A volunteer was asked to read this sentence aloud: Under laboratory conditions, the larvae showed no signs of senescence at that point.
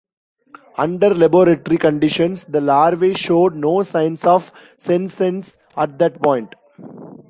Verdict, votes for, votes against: rejected, 1, 2